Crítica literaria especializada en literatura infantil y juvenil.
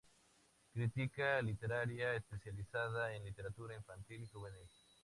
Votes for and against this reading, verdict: 2, 0, accepted